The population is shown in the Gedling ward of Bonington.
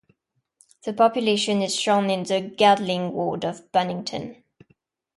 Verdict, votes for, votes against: accepted, 2, 0